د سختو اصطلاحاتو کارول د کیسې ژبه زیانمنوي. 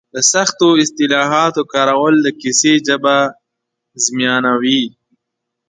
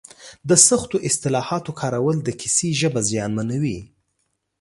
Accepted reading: second